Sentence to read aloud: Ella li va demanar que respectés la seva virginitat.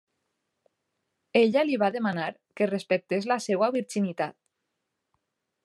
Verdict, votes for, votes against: accepted, 2, 0